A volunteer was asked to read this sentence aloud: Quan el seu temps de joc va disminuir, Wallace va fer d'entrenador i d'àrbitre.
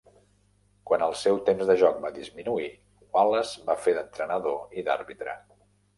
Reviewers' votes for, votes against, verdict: 3, 0, accepted